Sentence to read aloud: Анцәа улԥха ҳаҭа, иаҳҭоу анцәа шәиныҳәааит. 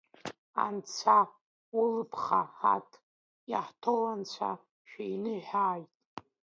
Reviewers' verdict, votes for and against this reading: accepted, 2, 1